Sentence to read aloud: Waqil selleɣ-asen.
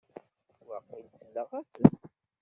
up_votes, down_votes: 1, 2